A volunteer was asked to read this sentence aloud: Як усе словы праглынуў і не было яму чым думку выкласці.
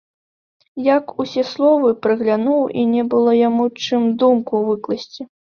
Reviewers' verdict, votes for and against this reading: rejected, 0, 2